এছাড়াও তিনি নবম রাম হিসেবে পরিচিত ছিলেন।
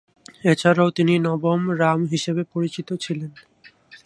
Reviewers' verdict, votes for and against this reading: rejected, 2, 2